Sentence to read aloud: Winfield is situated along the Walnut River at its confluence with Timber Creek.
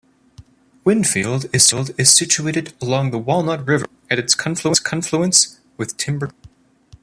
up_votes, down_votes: 0, 2